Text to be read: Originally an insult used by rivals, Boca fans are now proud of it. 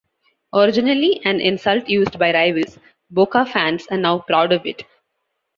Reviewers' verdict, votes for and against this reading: accepted, 2, 0